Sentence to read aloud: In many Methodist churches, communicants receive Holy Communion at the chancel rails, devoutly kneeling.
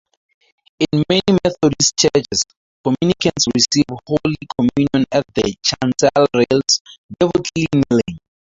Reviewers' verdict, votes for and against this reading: accepted, 2, 0